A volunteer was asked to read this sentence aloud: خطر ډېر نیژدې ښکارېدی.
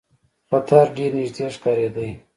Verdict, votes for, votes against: accepted, 2, 1